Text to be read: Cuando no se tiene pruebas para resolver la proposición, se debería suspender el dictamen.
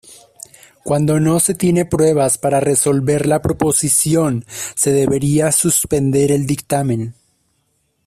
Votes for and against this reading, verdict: 2, 0, accepted